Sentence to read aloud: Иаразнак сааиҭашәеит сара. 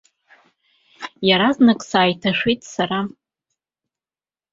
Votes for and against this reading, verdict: 2, 0, accepted